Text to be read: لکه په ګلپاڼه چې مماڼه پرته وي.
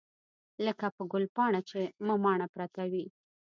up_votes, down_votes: 2, 0